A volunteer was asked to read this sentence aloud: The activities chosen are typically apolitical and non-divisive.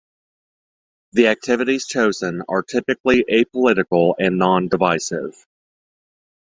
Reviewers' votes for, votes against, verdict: 2, 0, accepted